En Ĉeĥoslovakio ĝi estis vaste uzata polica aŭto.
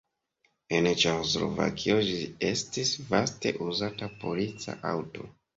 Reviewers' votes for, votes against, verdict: 0, 2, rejected